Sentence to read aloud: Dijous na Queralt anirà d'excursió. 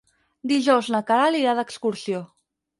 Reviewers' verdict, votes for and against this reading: rejected, 2, 4